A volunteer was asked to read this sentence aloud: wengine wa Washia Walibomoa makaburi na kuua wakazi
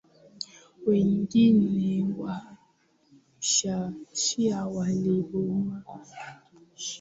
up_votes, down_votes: 0, 6